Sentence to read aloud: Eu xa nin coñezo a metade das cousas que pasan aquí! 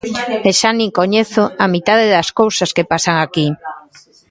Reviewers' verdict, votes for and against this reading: rejected, 0, 2